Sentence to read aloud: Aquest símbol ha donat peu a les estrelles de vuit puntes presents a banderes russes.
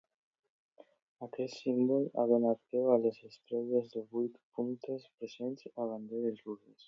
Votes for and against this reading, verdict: 2, 1, accepted